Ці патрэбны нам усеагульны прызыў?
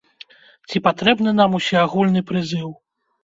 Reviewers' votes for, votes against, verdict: 2, 0, accepted